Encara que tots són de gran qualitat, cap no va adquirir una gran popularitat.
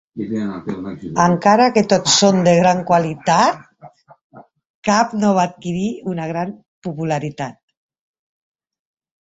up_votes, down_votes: 1, 2